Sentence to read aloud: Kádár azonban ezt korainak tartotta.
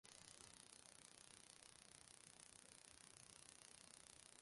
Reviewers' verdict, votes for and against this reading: rejected, 0, 2